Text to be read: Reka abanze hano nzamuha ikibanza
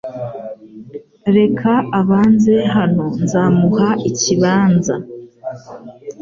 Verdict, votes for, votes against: accepted, 2, 0